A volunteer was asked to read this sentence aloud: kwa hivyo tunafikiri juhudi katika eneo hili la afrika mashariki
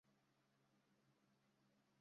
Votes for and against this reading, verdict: 0, 2, rejected